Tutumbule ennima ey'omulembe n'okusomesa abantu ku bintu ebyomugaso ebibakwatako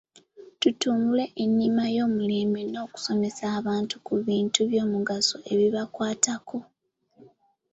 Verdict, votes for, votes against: rejected, 0, 2